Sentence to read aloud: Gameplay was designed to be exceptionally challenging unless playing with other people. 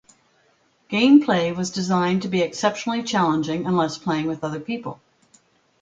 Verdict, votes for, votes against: accepted, 2, 0